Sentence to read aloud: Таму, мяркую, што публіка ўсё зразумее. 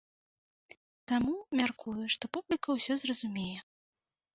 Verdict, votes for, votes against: accepted, 2, 0